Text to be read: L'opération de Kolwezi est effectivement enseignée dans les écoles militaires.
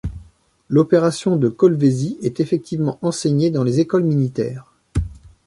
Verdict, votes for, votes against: accepted, 2, 0